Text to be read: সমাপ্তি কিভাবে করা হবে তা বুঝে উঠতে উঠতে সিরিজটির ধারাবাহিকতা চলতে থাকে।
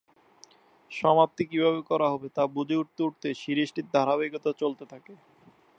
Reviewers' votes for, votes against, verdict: 2, 0, accepted